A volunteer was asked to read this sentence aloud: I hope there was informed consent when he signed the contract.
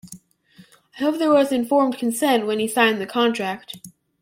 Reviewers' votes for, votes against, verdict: 2, 0, accepted